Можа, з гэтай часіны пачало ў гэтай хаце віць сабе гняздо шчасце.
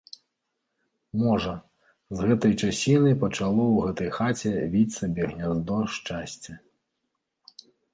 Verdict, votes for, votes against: accepted, 2, 0